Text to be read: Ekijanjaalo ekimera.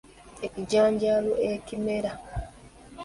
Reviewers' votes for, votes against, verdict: 2, 1, accepted